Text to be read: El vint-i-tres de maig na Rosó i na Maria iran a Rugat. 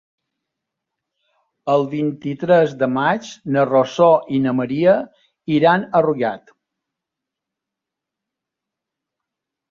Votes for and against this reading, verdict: 2, 0, accepted